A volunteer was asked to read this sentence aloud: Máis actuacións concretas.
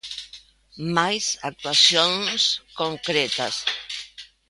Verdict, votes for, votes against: accepted, 2, 1